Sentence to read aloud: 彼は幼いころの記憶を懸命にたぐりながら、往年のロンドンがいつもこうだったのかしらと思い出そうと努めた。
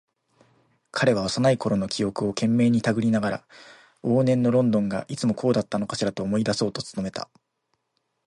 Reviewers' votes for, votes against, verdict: 3, 1, accepted